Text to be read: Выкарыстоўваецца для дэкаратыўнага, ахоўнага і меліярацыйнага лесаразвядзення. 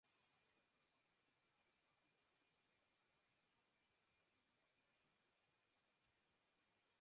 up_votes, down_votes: 0, 2